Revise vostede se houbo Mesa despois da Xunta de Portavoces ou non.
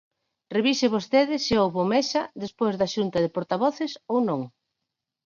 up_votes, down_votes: 4, 2